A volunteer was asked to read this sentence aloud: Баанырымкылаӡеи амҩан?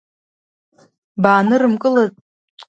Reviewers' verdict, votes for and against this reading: rejected, 1, 2